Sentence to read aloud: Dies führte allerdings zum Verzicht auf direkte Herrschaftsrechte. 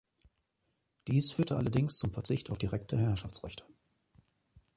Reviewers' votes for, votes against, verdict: 2, 0, accepted